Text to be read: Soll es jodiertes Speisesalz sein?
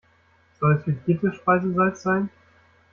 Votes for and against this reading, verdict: 1, 2, rejected